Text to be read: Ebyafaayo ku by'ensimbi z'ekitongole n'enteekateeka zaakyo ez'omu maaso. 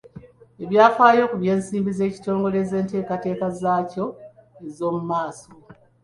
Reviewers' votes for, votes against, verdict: 2, 0, accepted